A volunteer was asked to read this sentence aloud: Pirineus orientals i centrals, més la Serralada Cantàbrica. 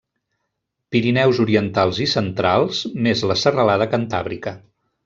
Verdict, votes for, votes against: accepted, 3, 0